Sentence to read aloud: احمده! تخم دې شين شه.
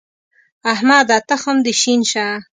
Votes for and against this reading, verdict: 2, 0, accepted